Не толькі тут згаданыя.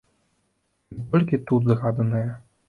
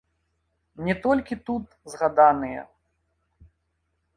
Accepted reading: second